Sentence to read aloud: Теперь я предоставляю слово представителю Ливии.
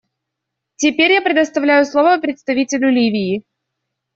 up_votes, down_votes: 2, 0